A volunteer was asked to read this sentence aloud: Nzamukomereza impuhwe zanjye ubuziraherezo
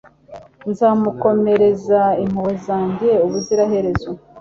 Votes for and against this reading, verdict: 2, 0, accepted